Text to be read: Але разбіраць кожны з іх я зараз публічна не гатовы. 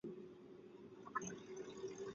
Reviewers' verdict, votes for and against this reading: rejected, 0, 2